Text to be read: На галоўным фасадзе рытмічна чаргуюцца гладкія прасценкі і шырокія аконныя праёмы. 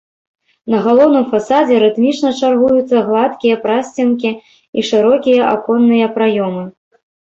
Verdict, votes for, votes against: rejected, 0, 2